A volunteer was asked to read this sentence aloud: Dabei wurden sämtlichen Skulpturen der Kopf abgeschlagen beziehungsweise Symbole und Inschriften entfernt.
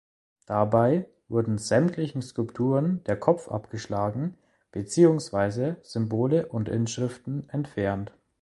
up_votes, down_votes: 2, 0